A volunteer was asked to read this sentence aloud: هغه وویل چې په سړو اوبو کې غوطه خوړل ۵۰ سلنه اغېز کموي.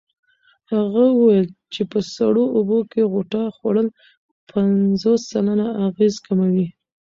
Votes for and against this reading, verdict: 0, 2, rejected